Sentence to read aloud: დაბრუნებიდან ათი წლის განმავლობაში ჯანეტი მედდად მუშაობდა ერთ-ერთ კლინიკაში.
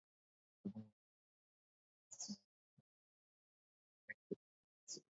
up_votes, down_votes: 1, 2